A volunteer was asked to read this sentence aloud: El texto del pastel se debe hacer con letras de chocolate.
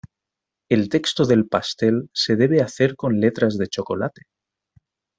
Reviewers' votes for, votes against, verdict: 2, 0, accepted